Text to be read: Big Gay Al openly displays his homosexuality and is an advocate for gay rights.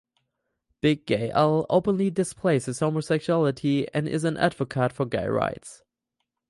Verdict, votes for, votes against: rejected, 2, 4